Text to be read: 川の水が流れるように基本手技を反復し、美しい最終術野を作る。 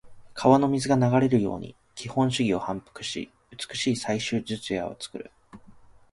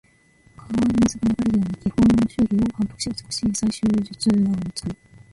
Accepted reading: first